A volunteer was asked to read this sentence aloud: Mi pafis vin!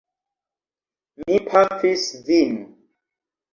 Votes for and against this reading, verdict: 1, 2, rejected